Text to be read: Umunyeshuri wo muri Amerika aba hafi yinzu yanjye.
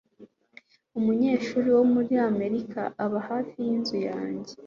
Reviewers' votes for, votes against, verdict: 2, 0, accepted